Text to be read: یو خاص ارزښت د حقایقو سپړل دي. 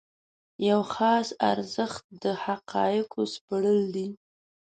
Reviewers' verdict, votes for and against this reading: accepted, 2, 0